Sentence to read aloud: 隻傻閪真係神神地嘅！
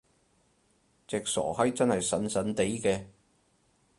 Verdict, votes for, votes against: rejected, 0, 2